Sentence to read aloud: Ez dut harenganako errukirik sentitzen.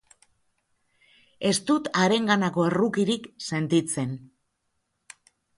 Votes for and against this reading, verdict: 2, 0, accepted